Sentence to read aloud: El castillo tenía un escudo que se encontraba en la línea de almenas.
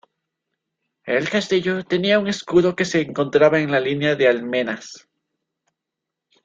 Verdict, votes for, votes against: accepted, 2, 0